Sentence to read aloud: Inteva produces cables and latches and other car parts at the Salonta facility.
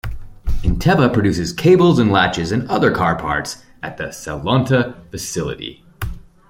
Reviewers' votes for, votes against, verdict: 2, 0, accepted